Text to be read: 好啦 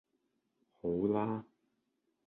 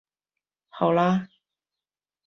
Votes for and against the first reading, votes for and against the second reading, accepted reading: 2, 0, 0, 2, first